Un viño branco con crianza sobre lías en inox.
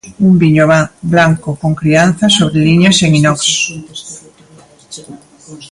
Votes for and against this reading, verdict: 0, 2, rejected